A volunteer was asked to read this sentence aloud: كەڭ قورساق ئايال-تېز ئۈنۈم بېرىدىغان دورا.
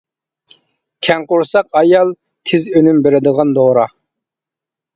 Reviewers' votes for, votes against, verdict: 2, 0, accepted